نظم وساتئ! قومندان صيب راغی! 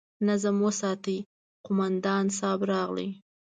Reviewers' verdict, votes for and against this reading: rejected, 1, 2